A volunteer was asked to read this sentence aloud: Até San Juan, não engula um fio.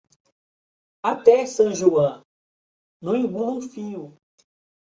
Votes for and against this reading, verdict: 0, 2, rejected